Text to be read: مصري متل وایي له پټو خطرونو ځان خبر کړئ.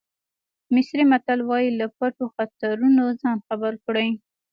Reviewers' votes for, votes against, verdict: 3, 0, accepted